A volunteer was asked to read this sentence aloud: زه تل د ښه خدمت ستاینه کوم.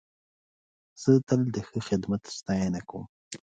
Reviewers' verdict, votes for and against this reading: accepted, 2, 0